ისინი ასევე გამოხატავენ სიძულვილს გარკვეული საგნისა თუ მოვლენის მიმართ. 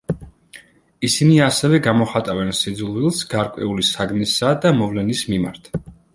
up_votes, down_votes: 0, 2